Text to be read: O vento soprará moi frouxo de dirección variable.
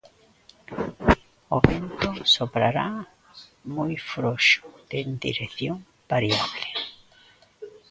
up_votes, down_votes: 0, 2